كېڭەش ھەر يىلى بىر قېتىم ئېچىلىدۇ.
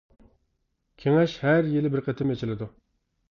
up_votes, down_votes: 2, 0